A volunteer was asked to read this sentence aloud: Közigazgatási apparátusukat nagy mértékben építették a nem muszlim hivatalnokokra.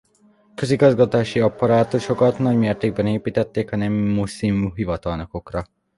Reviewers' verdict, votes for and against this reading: rejected, 1, 2